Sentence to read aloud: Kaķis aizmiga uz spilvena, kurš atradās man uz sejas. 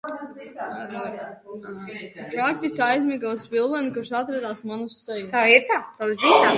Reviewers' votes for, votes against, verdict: 0, 2, rejected